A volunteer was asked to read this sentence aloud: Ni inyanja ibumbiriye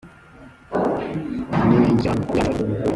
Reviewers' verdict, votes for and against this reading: rejected, 0, 2